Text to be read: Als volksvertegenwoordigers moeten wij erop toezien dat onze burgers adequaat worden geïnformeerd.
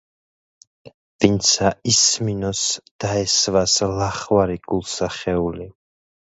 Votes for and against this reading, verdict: 0, 2, rejected